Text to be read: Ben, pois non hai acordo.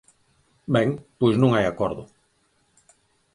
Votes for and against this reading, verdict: 4, 0, accepted